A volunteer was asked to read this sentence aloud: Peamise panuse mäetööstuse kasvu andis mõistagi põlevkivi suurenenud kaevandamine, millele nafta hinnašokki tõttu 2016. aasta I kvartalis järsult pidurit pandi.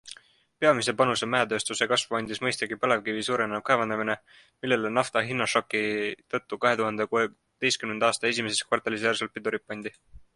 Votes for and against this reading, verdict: 0, 2, rejected